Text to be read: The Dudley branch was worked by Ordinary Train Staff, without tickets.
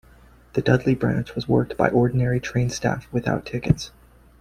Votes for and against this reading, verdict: 2, 0, accepted